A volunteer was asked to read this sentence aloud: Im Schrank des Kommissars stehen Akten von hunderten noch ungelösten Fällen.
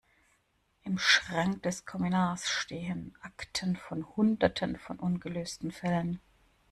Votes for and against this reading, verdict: 1, 2, rejected